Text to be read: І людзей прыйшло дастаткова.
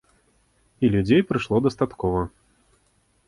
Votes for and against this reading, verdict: 2, 0, accepted